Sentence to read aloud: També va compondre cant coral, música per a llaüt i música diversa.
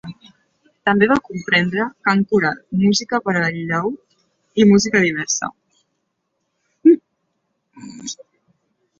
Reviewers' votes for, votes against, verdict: 0, 2, rejected